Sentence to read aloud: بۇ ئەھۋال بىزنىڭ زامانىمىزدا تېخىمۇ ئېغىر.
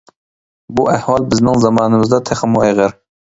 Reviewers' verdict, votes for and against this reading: accepted, 2, 0